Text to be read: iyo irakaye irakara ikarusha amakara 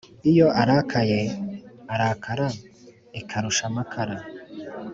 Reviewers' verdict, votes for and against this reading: rejected, 1, 2